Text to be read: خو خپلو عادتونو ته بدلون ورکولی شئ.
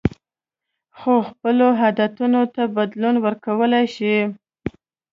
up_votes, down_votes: 3, 0